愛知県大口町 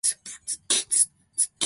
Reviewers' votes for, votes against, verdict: 0, 2, rejected